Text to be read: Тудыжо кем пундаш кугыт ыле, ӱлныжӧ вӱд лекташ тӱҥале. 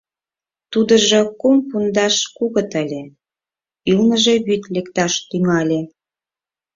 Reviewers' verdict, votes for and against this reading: rejected, 0, 4